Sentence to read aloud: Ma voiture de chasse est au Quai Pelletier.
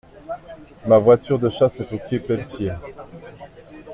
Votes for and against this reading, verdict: 2, 1, accepted